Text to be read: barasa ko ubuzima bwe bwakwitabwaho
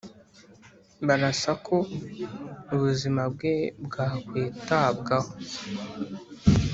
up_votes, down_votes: 3, 0